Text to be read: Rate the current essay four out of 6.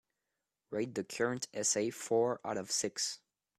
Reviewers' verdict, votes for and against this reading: rejected, 0, 2